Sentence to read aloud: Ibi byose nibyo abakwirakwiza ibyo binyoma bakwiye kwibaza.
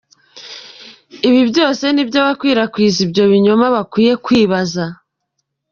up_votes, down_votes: 2, 0